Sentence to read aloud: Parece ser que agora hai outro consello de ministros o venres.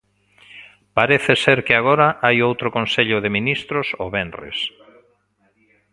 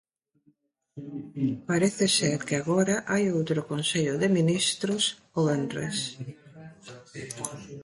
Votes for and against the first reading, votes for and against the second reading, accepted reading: 2, 1, 2, 3, first